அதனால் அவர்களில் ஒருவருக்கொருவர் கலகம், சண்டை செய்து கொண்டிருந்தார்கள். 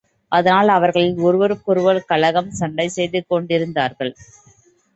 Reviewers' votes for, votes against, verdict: 2, 0, accepted